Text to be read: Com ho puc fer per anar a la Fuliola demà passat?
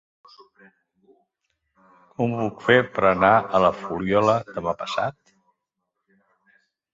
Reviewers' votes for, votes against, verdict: 2, 3, rejected